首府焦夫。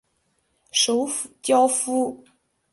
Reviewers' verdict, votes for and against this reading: accepted, 5, 0